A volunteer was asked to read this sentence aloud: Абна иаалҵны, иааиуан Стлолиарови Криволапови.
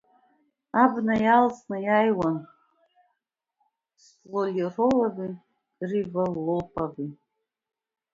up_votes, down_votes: 1, 2